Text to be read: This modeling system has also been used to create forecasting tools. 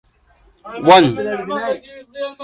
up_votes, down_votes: 0, 2